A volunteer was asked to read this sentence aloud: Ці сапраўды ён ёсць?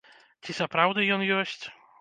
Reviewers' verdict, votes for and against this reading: rejected, 0, 2